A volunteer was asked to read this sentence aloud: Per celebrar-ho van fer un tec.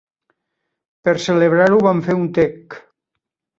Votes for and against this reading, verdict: 3, 0, accepted